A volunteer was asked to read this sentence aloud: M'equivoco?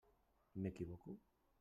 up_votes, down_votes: 1, 2